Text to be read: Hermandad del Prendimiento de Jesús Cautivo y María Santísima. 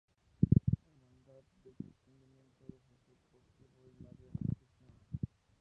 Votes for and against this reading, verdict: 0, 2, rejected